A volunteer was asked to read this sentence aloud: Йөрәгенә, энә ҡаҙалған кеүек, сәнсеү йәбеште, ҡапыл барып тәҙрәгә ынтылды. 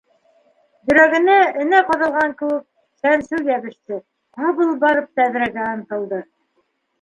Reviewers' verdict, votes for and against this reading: accepted, 2, 0